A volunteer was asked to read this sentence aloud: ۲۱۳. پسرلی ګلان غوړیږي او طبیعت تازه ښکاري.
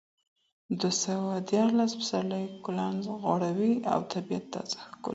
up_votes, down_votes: 0, 2